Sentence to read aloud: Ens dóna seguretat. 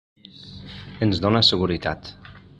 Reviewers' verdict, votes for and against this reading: rejected, 1, 2